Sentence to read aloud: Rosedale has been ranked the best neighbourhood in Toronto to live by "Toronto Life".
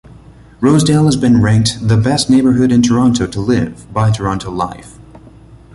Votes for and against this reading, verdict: 2, 0, accepted